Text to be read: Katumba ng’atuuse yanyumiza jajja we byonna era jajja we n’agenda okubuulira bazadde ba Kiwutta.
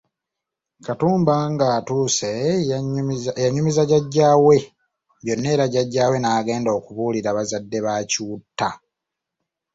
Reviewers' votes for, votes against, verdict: 0, 2, rejected